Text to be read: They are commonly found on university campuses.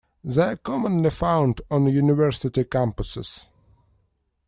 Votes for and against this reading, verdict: 1, 2, rejected